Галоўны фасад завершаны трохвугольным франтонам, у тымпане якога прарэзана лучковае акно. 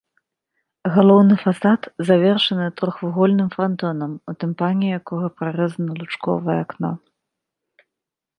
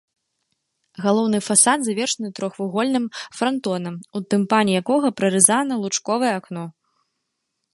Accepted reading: first